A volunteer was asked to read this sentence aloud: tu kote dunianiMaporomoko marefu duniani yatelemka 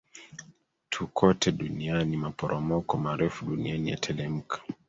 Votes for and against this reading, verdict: 1, 2, rejected